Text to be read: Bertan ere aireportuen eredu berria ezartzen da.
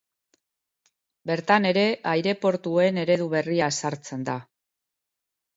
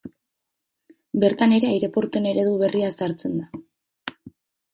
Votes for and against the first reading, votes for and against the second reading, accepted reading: 3, 0, 2, 2, first